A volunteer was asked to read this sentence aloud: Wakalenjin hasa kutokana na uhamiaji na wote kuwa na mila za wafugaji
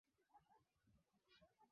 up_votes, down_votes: 0, 2